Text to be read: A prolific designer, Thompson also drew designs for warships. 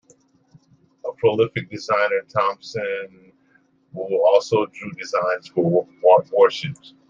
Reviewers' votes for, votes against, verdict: 0, 2, rejected